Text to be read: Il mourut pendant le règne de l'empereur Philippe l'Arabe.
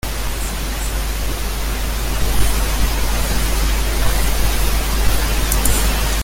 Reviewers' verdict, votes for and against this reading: rejected, 0, 2